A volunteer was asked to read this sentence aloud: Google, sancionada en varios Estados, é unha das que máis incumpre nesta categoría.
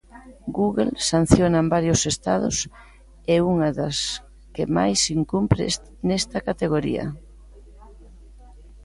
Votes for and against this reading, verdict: 0, 2, rejected